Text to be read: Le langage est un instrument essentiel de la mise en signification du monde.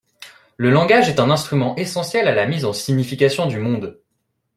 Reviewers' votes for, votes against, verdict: 0, 2, rejected